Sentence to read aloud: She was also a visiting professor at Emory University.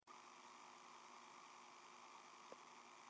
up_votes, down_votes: 0, 2